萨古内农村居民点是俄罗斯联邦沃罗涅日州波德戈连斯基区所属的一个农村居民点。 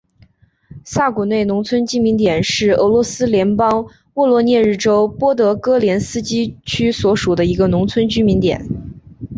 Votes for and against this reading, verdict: 2, 1, accepted